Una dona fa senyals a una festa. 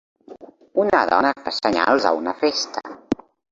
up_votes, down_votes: 3, 1